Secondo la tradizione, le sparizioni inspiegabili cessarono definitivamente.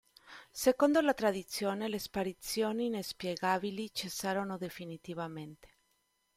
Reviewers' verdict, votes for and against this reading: rejected, 1, 2